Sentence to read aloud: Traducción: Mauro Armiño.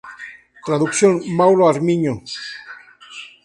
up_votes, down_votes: 2, 0